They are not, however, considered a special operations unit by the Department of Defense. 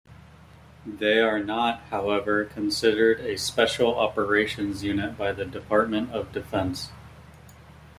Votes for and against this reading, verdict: 2, 0, accepted